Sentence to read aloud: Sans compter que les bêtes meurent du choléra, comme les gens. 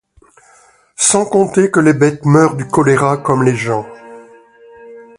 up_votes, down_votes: 2, 0